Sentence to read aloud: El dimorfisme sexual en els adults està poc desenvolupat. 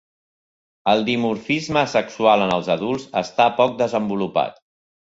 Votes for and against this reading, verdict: 2, 0, accepted